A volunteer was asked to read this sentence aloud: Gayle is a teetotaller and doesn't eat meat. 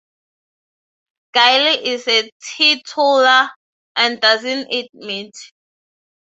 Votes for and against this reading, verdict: 6, 0, accepted